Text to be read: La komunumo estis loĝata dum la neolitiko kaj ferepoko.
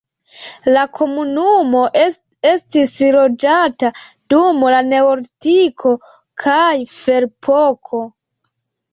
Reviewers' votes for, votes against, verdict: 1, 2, rejected